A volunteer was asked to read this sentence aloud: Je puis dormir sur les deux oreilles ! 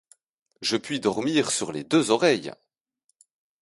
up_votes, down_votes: 4, 0